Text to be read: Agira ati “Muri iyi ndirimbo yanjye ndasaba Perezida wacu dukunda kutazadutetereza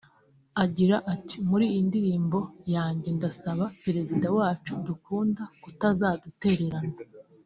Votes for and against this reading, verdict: 1, 2, rejected